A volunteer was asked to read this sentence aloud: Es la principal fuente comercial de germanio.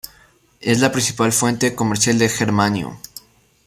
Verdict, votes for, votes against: accepted, 2, 0